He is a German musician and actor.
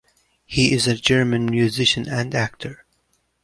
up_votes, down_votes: 2, 0